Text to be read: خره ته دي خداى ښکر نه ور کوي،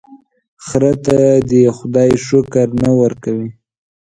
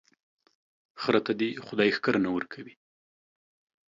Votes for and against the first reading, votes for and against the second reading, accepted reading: 0, 2, 2, 0, second